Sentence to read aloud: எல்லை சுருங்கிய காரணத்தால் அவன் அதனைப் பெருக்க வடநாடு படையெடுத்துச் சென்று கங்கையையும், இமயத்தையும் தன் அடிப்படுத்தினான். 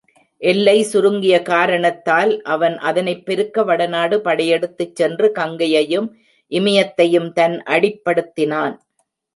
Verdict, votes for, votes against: accepted, 2, 0